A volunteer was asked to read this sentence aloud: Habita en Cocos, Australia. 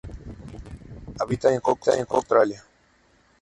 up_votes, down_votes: 0, 2